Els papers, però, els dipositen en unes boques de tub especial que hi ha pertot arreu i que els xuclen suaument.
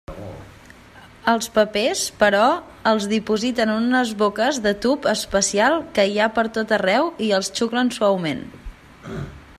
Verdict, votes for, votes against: rejected, 0, 2